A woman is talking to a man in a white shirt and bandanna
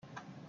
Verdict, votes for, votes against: rejected, 0, 4